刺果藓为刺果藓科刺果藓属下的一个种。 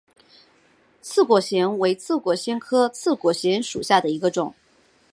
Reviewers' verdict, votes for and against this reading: accepted, 2, 0